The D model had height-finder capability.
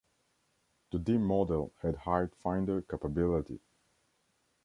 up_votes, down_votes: 1, 2